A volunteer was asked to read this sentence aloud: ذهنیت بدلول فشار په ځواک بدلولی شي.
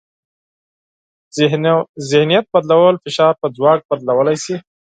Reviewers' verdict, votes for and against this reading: accepted, 4, 0